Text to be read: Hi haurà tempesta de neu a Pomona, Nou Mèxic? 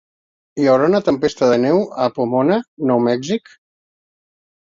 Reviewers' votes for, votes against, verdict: 0, 2, rejected